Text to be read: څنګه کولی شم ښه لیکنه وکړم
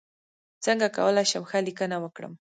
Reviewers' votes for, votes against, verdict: 0, 2, rejected